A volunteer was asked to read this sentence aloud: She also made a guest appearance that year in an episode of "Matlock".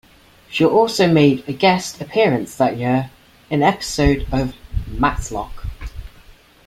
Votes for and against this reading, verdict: 2, 0, accepted